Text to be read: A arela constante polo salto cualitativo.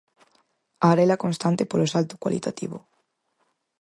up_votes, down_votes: 4, 0